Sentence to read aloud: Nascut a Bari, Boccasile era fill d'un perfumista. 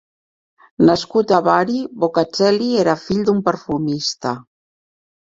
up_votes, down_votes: 1, 2